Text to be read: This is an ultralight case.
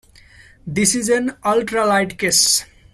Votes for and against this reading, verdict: 2, 0, accepted